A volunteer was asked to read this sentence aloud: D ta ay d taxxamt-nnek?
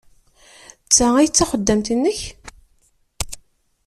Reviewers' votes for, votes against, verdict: 0, 2, rejected